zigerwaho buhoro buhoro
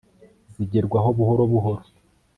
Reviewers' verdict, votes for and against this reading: accepted, 2, 0